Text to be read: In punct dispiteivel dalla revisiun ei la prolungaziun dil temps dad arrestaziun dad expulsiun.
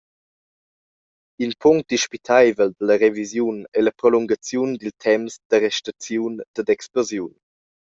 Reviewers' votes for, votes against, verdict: 0, 2, rejected